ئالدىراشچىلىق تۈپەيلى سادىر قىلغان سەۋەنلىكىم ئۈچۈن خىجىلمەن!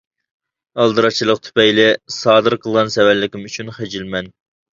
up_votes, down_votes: 2, 1